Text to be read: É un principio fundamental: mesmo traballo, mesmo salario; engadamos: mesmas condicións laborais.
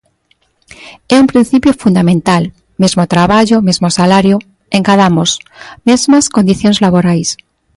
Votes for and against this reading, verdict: 2, 0, accepted